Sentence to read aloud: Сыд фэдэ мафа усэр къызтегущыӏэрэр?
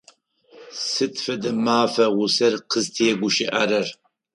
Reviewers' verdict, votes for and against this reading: accepted, 4, 0